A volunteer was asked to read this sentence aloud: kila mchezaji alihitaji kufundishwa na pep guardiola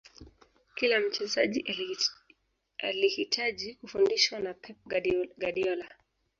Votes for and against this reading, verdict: 0, 2, rejected